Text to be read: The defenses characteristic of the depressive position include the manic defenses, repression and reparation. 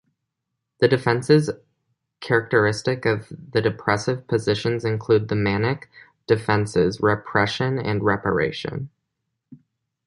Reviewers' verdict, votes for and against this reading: accepted, 2, 1